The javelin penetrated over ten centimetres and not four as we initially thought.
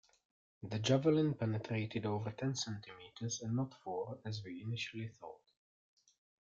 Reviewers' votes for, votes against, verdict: 2, 0, accepted